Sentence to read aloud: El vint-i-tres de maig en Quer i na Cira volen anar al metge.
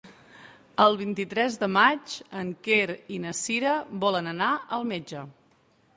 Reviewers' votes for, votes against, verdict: 2, 0, accepted